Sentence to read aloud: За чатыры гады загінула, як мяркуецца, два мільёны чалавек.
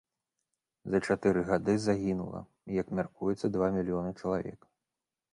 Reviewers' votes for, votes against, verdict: 2, 0, accepted